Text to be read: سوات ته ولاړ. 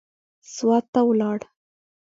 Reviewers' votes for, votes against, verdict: 2, 1, accepted